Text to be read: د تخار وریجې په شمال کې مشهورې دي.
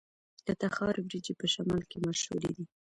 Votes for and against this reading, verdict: 0, 2, rejected